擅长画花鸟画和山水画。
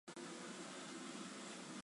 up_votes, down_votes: 2, 3